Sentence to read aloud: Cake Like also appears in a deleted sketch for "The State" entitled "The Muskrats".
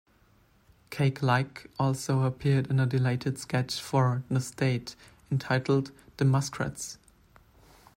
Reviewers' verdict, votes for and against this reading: rejected, 1, 2